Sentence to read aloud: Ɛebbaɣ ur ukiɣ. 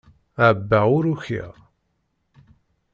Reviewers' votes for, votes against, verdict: 2, 0, accepted